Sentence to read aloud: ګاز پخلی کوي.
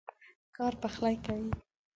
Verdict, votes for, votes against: rejected, 0, 2